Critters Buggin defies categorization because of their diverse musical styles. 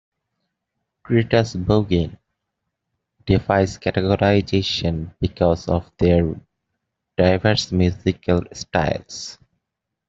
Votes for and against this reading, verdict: 2, 0, accepted